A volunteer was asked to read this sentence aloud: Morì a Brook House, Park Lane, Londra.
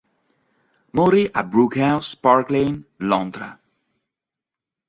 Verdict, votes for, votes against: accepted, 2, 0